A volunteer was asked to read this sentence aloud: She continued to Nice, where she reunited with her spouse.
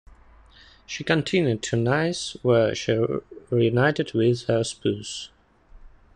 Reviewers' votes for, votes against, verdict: 1, 2, rejected